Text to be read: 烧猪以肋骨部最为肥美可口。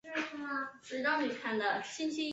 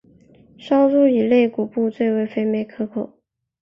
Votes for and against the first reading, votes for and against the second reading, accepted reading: 2, 5, 6, 1, second